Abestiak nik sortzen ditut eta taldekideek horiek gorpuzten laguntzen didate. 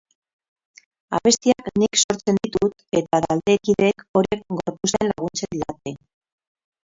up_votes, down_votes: 0, 6